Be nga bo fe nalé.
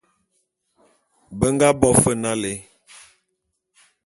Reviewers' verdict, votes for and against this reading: accepted, 2, 0